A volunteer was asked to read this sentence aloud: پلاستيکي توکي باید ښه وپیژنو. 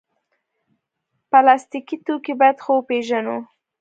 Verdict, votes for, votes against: rejected, 1, 2